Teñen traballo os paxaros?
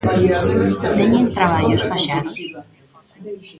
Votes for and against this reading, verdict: 0, 2, rejected